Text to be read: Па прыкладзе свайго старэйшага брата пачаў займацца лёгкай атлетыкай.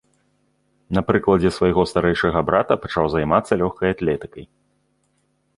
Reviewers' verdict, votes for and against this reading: rejected, 1, 2